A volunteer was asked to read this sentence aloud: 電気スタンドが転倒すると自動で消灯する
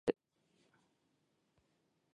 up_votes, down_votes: 1, 2